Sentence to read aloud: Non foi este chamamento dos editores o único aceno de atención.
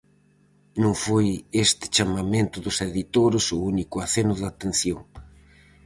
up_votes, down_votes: 4, 0